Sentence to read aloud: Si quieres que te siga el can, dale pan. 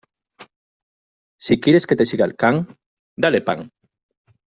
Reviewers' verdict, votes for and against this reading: accepted, 2, 0